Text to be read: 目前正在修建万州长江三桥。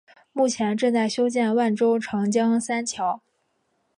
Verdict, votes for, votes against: accepted, 2, 1